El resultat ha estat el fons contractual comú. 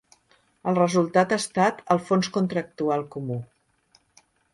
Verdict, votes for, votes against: accepted, 3, 0